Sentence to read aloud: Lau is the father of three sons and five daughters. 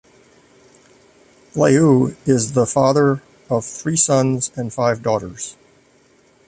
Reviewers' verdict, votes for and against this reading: rejected, 1, 2